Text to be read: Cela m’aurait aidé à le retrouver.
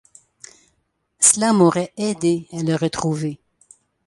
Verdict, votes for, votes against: accepted, 2, 0